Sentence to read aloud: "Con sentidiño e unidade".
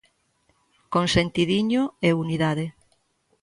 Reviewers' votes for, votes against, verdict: 3, 0, accepted